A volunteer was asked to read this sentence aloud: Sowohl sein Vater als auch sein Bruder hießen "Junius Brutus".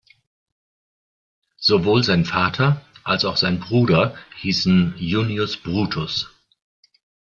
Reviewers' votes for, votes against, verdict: 2, 0, accepted